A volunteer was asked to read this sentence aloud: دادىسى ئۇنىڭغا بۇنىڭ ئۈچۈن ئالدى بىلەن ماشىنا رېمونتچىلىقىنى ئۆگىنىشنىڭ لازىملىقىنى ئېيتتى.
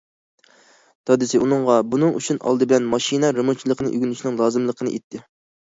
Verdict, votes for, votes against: accepted, 2, 0